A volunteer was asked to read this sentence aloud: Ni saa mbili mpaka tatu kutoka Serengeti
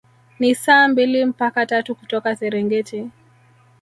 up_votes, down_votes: 3, 1